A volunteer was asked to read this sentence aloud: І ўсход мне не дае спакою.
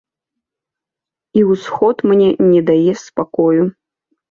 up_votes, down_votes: 2, 0